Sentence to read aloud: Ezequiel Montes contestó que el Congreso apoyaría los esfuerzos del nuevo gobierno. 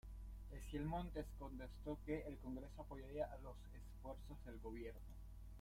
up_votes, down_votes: 0, 2